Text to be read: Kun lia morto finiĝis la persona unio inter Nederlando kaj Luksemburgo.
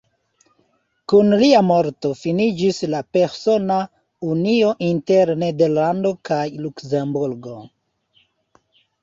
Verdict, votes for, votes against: rejected, 1, 2